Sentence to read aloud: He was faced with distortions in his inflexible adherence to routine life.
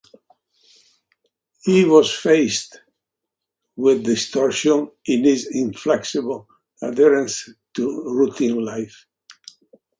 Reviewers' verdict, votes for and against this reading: rejected, 0, 2